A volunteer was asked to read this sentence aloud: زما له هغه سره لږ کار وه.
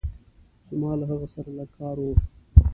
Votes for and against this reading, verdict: 2, 0, accepted